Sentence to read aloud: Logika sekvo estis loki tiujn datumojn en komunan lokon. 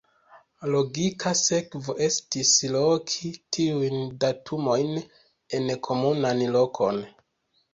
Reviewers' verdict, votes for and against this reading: accepted, 2, 0